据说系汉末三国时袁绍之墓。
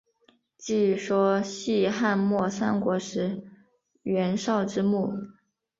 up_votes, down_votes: 2, 0